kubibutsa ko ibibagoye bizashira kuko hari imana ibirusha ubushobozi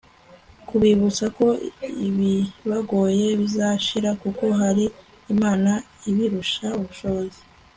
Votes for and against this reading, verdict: 2, 0, accepted